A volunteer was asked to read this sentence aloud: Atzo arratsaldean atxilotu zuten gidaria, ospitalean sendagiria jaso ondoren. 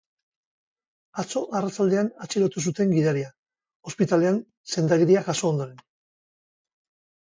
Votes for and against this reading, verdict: 2, 0, accepted